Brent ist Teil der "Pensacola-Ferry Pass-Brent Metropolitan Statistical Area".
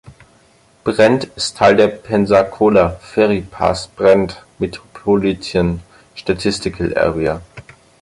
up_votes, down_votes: 2, 4